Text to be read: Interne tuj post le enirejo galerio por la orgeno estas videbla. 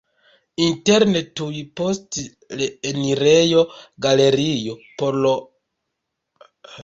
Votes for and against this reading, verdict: 0, 2, rejected